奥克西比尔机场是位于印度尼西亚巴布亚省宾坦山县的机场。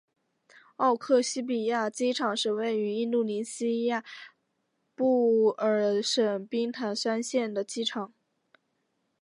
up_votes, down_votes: 1, 3